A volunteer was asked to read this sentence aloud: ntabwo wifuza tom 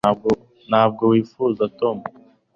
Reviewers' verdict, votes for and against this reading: rejected, 0, 2